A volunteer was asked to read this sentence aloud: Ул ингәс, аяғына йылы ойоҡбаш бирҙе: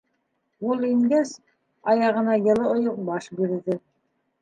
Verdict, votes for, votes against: rejected, 1, 2